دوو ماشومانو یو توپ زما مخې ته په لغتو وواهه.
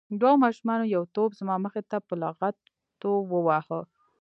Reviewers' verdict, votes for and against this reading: rejected, 0, 2